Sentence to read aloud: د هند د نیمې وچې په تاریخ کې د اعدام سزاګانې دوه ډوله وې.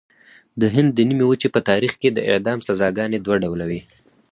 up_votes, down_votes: 4, 0